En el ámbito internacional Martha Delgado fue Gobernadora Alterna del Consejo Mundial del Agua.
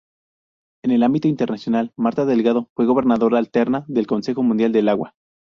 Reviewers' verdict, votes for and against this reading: accepted, 4, 0